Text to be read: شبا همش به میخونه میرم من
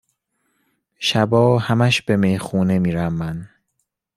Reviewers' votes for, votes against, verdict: 2, 0, accepted